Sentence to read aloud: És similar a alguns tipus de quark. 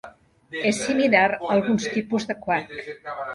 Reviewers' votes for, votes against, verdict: 0, 2, rejected